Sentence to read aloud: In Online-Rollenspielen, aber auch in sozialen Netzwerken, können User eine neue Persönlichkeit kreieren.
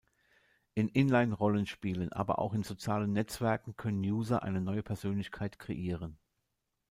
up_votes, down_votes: 0, 2